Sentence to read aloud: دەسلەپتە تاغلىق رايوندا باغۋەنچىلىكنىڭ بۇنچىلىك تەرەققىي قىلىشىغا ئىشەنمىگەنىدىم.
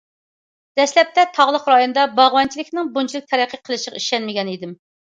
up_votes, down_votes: 2, 0